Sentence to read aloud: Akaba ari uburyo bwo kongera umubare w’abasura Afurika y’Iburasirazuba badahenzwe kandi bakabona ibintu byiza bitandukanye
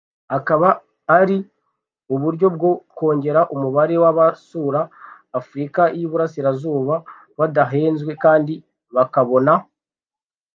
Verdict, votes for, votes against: rejected, 0, 2